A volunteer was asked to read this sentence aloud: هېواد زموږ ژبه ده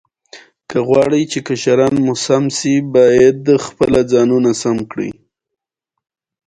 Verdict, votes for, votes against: rejected, 1, 2